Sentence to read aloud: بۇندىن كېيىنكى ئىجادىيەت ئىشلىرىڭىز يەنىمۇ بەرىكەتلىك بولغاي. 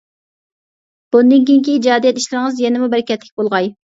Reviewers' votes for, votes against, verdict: 2, 0, accepted